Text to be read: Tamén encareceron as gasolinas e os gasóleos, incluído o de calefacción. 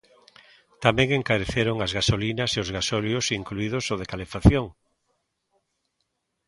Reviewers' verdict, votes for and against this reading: rejected, 0, 2